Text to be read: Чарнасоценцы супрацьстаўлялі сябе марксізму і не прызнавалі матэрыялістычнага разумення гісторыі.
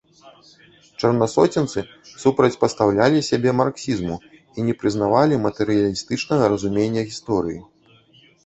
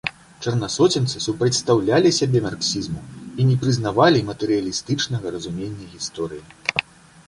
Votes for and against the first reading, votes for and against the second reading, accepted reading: 1, 2, 2, 0, second